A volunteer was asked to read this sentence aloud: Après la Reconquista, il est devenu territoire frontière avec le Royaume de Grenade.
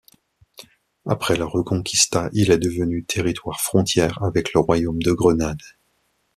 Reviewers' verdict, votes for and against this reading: accepted, 2, 0